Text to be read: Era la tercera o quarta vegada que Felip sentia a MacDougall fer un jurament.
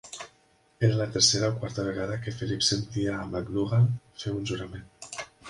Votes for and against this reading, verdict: 1, 2, rejected